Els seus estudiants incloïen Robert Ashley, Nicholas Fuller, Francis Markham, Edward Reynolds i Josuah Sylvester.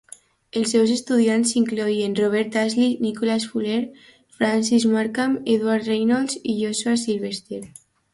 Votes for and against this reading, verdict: 2, 0, accepted